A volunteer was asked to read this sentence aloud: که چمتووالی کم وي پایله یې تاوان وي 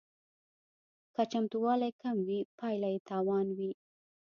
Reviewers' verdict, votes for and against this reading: accepted, 2, 0